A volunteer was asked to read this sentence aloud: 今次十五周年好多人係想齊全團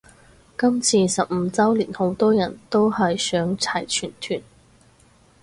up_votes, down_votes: 2, 4